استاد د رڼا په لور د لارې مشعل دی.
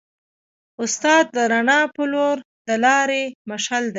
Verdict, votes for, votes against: accepted, 2, 0